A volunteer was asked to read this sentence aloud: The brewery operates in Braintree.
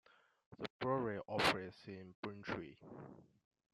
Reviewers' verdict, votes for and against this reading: rejected, 1, 2